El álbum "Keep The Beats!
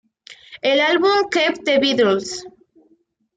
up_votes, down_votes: 1, 2